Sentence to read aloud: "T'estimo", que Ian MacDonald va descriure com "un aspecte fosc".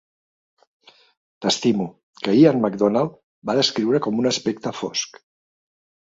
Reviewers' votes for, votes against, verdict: 2, 0, accepted